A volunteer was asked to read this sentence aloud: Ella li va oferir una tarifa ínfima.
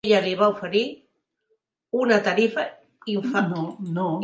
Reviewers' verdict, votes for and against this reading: rejected, 0, 4